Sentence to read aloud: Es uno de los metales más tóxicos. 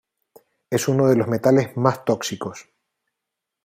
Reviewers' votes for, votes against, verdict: 2, 1, accepted